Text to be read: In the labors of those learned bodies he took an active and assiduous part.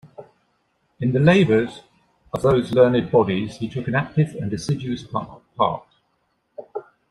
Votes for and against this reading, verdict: 0, 2, rejected